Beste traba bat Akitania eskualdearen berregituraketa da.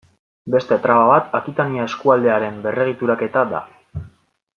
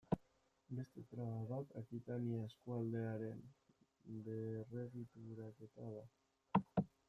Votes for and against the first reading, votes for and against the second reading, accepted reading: 2, 0, 1, 2, first